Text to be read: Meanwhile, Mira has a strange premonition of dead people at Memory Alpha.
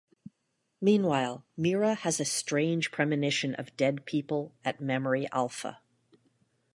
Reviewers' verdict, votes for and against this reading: accepted, 2, 0